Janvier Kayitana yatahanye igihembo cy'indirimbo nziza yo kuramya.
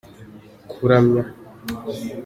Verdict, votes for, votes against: rejected, 0, 2